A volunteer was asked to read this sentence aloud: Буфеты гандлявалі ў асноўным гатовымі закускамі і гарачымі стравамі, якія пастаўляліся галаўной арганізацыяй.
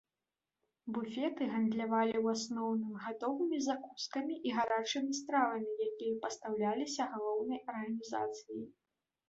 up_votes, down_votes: 2, 1